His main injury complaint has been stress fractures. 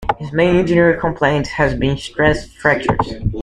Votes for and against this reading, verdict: 0, 2, rejected